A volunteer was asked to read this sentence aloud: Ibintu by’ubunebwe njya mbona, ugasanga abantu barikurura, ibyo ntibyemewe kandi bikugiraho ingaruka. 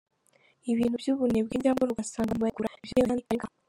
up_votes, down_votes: 0, 2